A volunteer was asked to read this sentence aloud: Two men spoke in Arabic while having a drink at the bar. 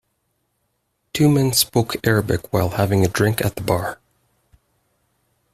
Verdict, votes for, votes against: rejected, 1, 2